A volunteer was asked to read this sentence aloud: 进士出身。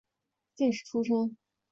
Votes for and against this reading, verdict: 2, 0, accepted